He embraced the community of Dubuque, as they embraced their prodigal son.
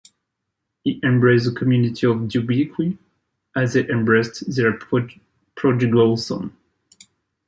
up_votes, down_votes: 0, 2